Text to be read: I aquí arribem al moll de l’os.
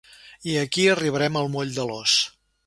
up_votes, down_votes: 0, 2